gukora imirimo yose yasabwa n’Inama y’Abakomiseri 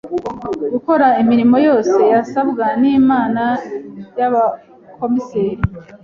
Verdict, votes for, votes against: rejected, 0, 2